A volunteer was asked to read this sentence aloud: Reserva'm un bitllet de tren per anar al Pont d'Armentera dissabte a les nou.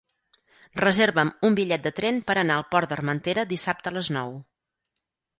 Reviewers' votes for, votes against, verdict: 2, 4, rejected